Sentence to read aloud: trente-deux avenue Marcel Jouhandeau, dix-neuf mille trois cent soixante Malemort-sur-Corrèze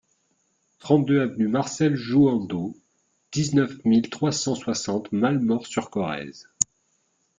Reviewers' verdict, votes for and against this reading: accepted, 2, 0